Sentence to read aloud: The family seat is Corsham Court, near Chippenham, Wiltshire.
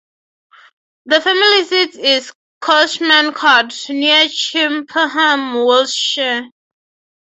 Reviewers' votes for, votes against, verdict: 0, 3, rejected